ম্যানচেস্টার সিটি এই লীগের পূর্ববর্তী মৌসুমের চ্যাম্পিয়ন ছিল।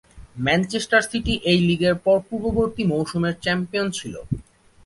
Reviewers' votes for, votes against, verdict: 3, 9, rejected